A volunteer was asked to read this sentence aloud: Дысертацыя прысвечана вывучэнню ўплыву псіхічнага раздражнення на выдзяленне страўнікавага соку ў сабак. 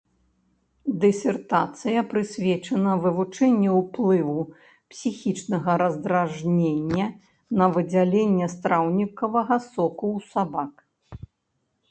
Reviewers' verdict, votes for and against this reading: accepted, 2, 0